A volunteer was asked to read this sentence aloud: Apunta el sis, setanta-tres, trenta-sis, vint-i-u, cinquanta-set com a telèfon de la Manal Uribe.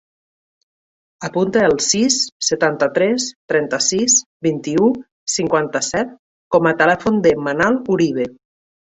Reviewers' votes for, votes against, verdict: 0, 2, rejected